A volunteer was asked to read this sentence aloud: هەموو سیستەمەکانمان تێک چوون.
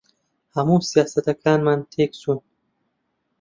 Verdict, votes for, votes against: rejected, 0, 2